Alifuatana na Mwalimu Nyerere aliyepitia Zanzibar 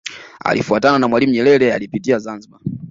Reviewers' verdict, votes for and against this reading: rejected, 1, 2